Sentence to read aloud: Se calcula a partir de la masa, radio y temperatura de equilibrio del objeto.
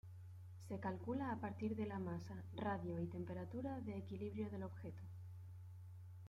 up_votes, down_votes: 1, 2